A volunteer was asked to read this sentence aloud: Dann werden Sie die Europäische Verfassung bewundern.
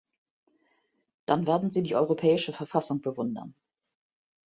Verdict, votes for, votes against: accepted, 2, 0